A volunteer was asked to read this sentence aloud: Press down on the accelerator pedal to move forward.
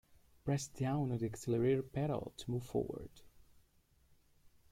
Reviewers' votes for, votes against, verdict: 2, 0, accepted